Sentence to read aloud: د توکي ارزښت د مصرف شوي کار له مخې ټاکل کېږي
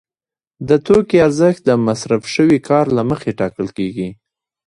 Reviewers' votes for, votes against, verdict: 0, 2, rejected